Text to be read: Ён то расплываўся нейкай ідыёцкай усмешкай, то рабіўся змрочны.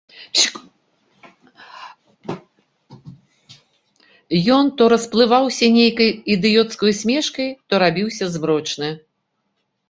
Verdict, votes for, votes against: rejected, 0, 2